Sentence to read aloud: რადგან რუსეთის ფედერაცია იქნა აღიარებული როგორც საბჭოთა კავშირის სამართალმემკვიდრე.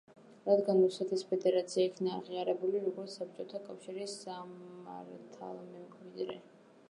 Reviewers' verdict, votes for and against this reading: rejected, 0, 2